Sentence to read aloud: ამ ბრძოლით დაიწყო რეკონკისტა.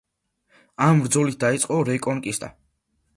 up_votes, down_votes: 2, 1